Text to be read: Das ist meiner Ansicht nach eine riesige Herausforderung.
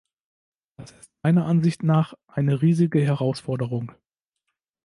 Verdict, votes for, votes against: rejected, 0, 2